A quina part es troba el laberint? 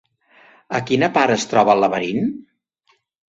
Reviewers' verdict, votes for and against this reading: accepted, 3, 0